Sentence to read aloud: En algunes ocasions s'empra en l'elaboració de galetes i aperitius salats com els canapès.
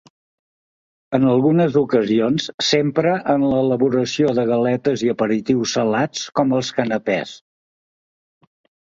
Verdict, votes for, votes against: accepted, 2, 0